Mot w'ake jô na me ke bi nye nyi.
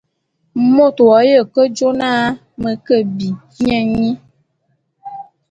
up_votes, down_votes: 0, 2